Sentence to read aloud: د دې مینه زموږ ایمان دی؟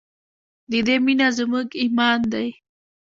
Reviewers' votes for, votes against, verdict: 2, 0, accepted